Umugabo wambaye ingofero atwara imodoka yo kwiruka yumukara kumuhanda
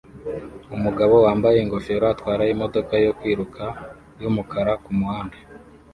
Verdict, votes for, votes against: accepted, 2, 0